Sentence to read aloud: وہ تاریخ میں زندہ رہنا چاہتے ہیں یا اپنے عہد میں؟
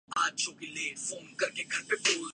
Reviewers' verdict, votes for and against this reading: rejected, 0, 3